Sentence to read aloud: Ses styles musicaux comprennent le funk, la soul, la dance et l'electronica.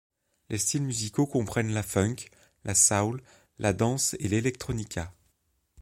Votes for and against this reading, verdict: 1, 2, rejected